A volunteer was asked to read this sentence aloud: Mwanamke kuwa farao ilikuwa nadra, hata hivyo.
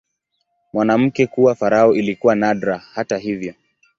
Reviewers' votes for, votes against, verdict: 3, 0, accepted